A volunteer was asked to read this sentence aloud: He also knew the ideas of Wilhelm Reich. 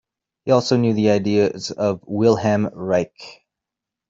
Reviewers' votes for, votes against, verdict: 2, 0, accepted